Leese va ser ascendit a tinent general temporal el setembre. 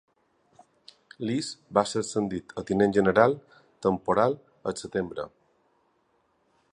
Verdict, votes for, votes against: accepted, 2, 0